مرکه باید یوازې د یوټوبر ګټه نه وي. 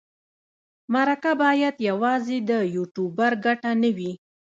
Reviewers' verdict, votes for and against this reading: rejected, 0, 2